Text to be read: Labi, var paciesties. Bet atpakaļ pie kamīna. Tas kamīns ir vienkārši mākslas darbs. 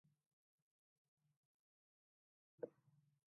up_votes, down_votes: 0, 2